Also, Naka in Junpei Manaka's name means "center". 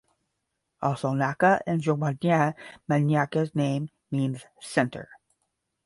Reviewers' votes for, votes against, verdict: 5, 5, rejected